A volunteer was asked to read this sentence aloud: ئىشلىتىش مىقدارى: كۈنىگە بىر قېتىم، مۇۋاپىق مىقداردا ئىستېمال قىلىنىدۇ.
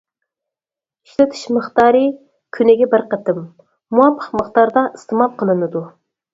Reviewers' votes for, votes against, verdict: 4, 0, accepted